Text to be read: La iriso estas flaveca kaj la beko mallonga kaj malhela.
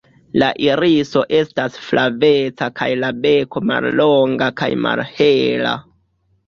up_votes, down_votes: 1, 2